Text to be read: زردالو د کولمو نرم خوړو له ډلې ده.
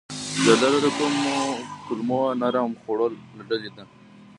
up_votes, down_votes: 0, 2